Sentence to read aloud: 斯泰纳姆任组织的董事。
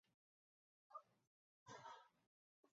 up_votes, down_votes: 1, 2